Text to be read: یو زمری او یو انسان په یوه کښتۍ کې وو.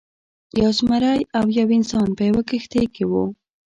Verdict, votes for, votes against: accepted, 2, 0